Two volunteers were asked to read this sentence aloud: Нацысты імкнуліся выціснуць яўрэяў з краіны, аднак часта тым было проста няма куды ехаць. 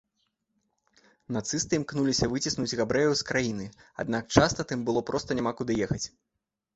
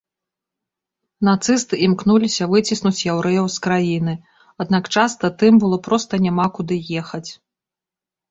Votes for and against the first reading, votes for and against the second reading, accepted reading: 1, 2, 2, 0, second